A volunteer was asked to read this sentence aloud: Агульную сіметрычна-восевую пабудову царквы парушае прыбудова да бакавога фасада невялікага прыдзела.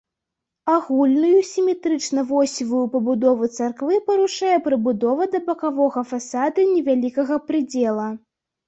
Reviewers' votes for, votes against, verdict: 2, 0, accepted